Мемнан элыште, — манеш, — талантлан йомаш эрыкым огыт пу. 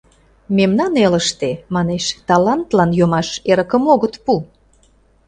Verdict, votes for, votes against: accepted, 2, 0